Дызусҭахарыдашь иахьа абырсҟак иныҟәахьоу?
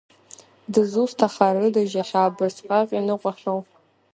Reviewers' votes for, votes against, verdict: 1, 2, rejected